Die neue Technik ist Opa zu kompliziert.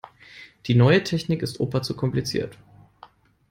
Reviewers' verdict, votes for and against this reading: accepted, 2, 0